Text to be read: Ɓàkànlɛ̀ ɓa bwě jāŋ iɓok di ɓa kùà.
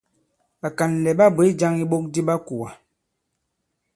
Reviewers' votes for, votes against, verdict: 2, 0, accepted